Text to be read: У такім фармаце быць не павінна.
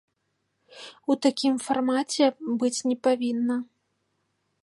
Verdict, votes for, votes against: accepted, 3, 0